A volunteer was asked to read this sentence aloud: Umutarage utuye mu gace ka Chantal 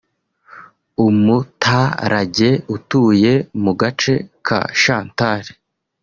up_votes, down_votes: 2, 0